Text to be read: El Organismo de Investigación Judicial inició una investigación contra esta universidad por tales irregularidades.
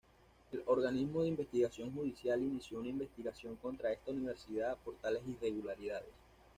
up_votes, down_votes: 2, 0